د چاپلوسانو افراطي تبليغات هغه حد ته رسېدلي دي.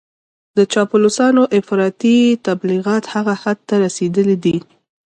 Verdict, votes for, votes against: accepted, 2, 1